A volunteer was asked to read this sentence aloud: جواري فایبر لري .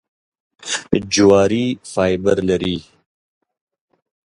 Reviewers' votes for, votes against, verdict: 2, 0, accepted